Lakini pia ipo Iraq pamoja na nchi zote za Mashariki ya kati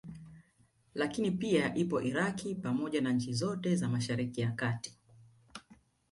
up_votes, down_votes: 2, 1